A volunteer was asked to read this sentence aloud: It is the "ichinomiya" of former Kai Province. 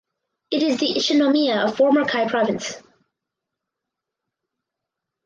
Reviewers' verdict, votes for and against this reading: rejected, 2, 2